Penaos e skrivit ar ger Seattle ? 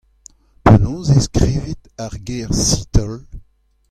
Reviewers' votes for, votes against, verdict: 2, 0, accepted